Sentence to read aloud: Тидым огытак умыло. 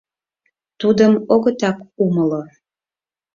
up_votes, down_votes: 0, 4